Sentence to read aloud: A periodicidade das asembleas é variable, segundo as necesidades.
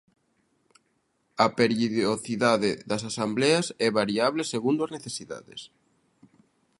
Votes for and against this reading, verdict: 0, 2, rejected